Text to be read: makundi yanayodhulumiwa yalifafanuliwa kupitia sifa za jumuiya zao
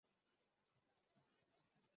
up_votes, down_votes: 0, 2